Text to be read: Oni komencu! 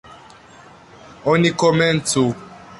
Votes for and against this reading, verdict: 3, 2, accepted